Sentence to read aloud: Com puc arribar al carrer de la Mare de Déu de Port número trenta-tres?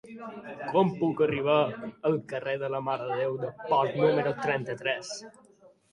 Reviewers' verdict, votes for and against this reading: accepted, 3, 0